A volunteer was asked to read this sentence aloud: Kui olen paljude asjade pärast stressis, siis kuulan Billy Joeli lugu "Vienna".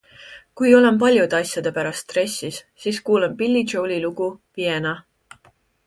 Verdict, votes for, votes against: accepted, 2, 0